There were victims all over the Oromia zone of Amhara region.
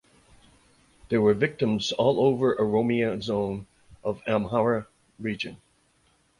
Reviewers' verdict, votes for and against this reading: rejected, 1, 2